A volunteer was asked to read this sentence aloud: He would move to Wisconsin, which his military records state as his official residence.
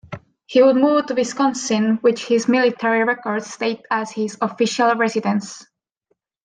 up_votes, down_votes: 2, 0